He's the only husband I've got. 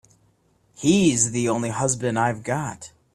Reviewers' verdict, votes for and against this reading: accepted, 3, 0